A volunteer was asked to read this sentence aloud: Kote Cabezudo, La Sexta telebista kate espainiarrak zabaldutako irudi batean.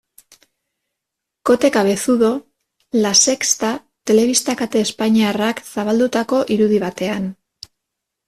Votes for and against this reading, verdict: 0, 2, rejected